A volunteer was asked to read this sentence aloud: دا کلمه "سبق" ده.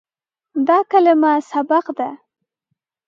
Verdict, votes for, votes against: accepted, 2, 0